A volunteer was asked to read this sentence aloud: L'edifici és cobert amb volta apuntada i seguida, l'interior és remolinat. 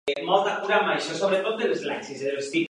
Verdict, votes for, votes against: rejected, 0, 2